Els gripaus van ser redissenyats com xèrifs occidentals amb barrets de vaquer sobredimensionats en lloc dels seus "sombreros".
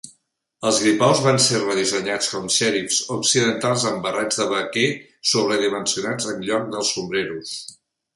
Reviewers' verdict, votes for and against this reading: rejected, 0, 2